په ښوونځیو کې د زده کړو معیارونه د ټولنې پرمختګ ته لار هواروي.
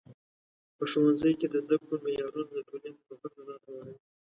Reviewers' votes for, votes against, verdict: 0, 2, rejected